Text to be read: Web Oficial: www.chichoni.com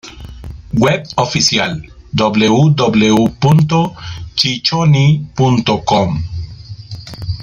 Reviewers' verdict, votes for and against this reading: rejected, 1, 2